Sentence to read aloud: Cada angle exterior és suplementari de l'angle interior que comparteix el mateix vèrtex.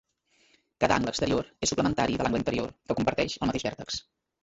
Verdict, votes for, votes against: rejected, 0, 2